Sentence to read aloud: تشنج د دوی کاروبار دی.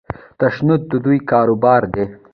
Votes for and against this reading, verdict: 0, 2, rejected